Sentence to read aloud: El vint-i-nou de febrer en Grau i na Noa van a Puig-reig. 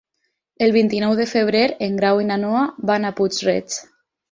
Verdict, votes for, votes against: accepted, 4, 0